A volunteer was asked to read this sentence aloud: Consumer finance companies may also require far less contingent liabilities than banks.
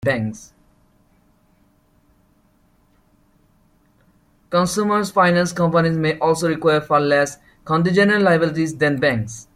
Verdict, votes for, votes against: rejected, 0, 2